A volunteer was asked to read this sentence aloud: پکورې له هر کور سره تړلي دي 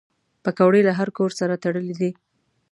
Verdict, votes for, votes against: accepted, 2, 0